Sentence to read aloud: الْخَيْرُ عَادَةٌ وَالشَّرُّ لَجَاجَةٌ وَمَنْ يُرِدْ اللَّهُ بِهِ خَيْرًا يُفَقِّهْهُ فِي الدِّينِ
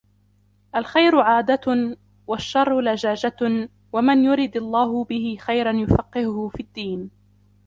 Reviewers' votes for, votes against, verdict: 1, 2, rejected